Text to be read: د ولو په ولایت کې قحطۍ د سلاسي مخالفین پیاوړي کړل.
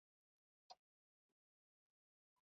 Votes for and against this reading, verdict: 1, 2, rejected